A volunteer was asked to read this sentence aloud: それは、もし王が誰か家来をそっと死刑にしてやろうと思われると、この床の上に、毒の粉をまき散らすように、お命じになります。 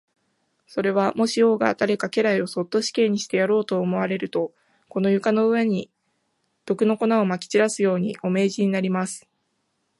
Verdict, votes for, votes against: accepted, 2, 0